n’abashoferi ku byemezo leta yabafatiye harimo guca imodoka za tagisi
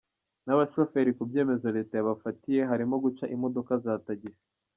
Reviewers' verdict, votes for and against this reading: accepted, 2, 0